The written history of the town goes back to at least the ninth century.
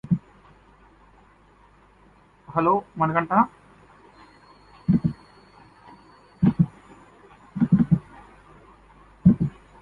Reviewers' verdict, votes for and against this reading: rejected, 0, 2